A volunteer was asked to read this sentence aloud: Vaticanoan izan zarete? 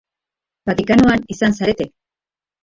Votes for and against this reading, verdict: 3, 2, accepted